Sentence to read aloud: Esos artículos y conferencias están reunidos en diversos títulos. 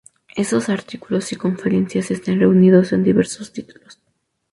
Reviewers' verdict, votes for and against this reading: accepted, 4, 2